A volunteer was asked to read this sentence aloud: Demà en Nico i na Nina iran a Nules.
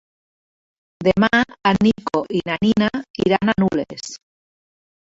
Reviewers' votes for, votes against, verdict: 1, 2, rejected